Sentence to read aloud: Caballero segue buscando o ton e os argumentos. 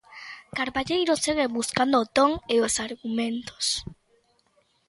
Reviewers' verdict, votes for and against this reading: rejected, 0, 2